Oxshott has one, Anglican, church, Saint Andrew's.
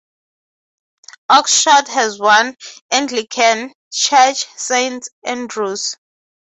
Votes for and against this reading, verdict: 6, 0, accepted